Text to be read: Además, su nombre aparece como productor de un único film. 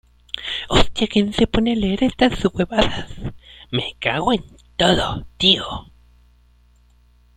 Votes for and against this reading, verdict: 0, 2, rejected